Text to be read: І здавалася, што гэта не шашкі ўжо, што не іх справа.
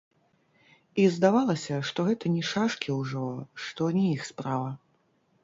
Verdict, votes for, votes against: rejected, 1, 2